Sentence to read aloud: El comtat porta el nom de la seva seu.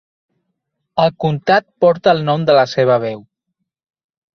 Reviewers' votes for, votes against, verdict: 1, 2, rejected